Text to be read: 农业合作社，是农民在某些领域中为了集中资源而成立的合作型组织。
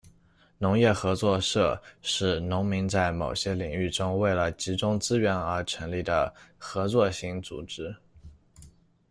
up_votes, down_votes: 2, 0